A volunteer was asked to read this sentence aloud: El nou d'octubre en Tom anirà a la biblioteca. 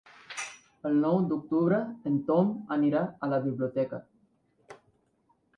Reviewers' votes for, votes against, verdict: 3, 0, accepted